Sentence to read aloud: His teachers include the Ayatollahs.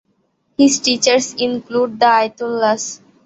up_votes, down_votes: 2, 0